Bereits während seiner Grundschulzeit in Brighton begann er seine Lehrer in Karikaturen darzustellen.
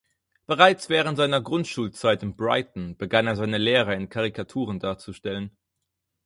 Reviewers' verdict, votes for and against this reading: accepted, 4, 0